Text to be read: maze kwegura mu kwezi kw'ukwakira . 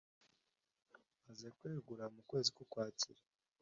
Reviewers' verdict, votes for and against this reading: accepted, 2, 0